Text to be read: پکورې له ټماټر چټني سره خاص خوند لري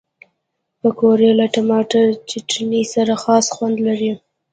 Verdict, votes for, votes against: rejected, 1, 2